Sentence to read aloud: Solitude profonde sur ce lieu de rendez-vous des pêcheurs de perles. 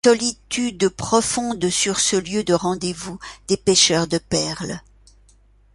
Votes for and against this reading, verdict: 1, 2, rejected